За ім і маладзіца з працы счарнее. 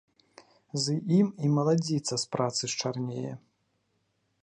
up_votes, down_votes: 1, 2